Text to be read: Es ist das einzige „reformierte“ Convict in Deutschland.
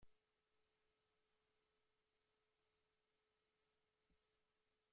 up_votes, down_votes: 0, 2